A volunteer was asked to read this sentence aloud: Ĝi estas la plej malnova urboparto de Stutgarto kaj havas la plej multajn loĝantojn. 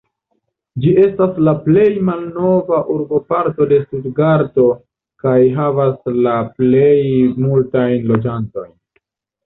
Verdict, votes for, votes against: rejected, 1, 2